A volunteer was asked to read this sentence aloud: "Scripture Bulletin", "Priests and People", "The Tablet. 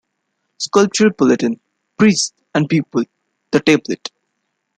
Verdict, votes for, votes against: accepted, 2, 0